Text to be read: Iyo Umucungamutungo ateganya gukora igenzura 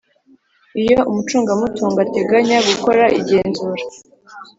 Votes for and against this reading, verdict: 3, 0, accepted